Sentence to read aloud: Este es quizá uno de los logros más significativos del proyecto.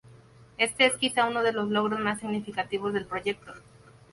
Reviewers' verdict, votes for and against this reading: accepted, 4, 0